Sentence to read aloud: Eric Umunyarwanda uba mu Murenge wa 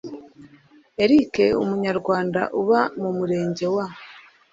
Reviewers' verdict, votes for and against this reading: accepted, 2, 0